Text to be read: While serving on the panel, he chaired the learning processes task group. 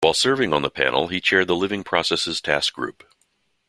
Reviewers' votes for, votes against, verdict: 1, 2, rejected